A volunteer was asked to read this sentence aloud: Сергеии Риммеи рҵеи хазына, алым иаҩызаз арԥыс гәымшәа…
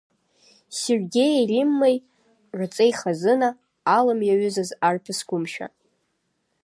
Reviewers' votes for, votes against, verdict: 2, 0, accepted